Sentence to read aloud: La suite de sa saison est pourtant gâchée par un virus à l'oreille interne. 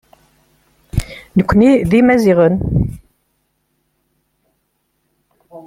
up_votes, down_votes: 0, 2